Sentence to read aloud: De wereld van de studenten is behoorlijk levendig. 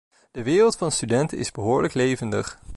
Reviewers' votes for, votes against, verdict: 2, 0, accepted